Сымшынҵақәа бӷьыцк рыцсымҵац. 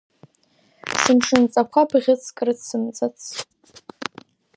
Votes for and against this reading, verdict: 0, 2, rejected